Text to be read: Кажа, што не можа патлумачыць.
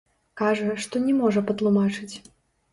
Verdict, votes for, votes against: rejected, 0, 2